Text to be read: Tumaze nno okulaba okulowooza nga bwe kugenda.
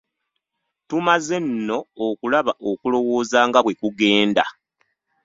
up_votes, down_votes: 1, 2